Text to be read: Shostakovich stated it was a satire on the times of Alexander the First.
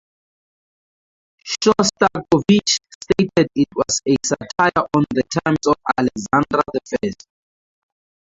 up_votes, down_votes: 0, 2